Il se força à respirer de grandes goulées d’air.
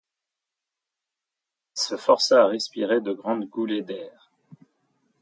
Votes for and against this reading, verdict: 2, 0, accepted